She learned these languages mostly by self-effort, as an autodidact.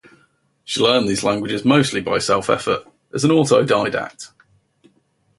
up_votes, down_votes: 2, 0